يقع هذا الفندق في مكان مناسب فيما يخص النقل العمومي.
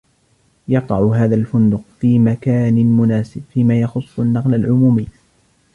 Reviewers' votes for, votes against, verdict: 0, 2, rejected